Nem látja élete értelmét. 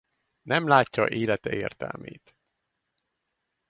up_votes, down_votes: 4, 0